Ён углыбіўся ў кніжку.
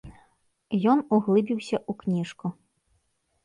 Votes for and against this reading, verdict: 1, 2, rejected